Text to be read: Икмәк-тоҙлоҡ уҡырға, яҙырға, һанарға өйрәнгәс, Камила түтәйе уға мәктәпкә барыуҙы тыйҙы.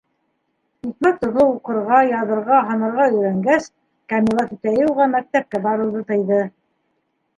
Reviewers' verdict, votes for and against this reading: rejected, 0, 3